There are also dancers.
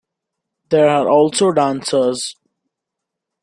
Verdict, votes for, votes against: accepted, 2, 0